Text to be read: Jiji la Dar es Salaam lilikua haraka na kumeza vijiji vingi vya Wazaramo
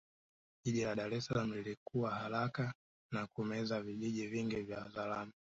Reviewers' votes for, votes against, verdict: 0, 2, rejected